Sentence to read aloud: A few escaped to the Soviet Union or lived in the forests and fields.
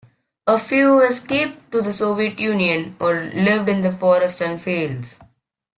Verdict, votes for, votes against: accepted, 2, 0